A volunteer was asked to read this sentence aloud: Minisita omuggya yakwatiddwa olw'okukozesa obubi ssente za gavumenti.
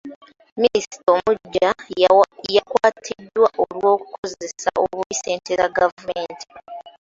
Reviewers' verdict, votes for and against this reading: rejected, 0, 2